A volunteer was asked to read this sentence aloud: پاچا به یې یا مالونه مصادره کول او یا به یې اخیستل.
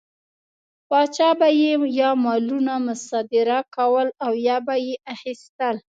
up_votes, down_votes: 2, 0